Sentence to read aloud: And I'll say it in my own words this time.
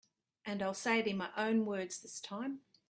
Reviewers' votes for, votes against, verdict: 2, 0, accepted